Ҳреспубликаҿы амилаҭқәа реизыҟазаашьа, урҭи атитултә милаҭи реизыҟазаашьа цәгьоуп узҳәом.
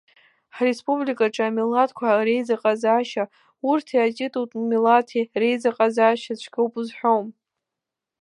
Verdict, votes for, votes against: accepted, 2, 0